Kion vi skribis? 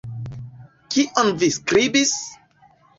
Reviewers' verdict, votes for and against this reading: accepted, 2, 0